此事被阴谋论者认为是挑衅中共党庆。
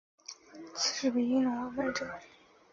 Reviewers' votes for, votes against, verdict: 0, 2, rejected